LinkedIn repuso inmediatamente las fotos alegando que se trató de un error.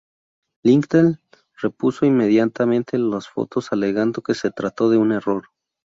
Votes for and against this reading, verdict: 2, 0, accepted